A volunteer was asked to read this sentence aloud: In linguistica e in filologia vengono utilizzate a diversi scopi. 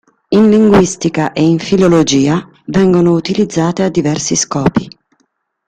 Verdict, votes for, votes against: accepted, 2, 0